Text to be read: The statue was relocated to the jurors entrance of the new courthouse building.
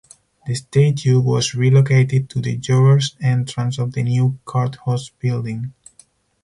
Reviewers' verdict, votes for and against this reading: rejected, 2, 2